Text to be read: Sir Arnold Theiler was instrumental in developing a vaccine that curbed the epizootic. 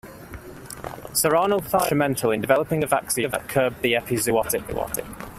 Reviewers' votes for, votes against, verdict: 0, 2, rejected